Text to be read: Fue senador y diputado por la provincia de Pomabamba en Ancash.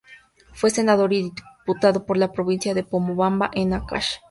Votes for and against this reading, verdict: 2, 2, rejected